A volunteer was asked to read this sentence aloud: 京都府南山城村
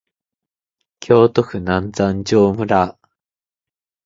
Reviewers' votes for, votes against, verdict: 0, 2, rejected